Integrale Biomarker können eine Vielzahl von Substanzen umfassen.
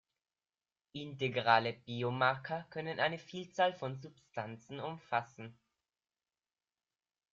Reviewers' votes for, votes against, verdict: 0, 2, rejected